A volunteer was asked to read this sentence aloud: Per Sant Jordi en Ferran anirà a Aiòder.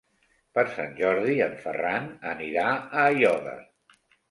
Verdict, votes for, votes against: accepted, 2, 0